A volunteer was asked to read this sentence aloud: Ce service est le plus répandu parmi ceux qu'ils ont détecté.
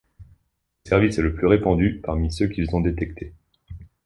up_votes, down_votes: 1, 2